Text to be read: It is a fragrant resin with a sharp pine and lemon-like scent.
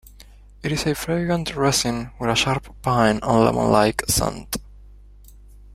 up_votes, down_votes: 1, 2